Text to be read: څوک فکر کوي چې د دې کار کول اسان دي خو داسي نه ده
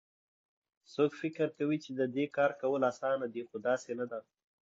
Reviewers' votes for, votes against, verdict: 2, 0, accepted